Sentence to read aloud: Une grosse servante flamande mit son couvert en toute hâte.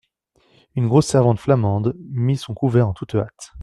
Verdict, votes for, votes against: accepted, 2, 0